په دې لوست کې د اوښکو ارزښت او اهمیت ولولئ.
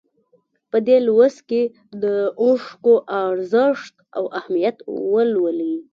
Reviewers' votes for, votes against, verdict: 2, 0, accepted